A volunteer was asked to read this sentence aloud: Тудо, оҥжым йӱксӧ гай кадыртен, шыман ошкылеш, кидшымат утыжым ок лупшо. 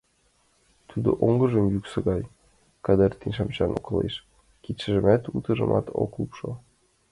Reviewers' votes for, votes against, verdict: 2, 1, accepted